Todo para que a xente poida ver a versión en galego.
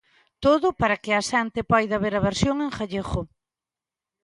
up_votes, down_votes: 0, 2